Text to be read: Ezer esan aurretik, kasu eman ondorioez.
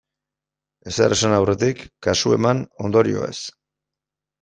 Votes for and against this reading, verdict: 2, 0, accepted